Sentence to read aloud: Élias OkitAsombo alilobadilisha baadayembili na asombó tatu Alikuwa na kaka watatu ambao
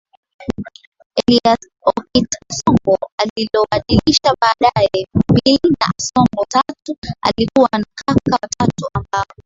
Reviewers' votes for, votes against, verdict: 0, 2, rejected